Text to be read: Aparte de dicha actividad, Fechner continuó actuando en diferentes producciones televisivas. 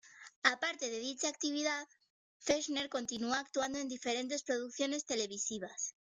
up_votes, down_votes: 1, 2